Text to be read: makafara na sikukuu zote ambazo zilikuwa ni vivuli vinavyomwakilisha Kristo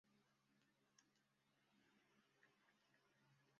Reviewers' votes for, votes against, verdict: 0, 2, rejected